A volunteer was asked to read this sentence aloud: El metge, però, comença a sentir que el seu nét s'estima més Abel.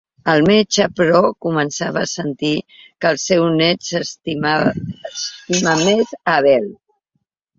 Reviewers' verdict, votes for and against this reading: rejected, 0, 2